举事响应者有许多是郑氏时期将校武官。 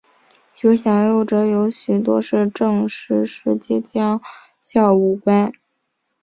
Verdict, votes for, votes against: accepted, 2, 0